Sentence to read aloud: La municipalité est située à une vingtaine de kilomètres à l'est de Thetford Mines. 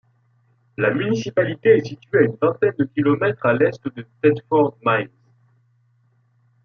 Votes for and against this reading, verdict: 2, 1, accepted